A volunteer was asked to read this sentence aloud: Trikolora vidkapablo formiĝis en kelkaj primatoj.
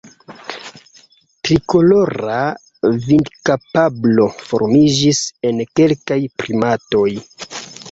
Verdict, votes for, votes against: accepted, 2, 0